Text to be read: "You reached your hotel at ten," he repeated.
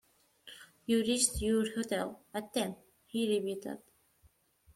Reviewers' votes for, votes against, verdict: 0, 2, rejected